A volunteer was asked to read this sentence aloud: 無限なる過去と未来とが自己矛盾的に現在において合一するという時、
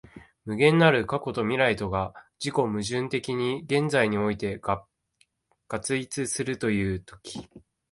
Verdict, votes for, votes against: rejected, 0, 3